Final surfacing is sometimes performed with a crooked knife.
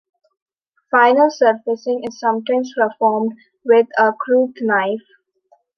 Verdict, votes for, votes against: rejected, 1, 2